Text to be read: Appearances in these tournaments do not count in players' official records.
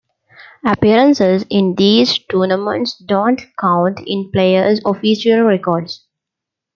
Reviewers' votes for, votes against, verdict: 1, 2, rejected